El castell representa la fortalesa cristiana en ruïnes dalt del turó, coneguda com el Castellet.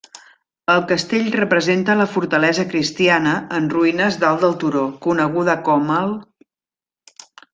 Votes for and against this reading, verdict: 0, 2, rejected